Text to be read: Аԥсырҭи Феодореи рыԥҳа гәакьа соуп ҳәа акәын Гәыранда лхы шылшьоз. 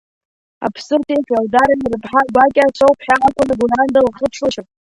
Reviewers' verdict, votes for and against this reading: accepted, 2, 0